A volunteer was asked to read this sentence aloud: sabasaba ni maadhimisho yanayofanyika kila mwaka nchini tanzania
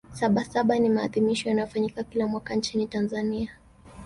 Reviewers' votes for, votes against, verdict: 1, 2, rejected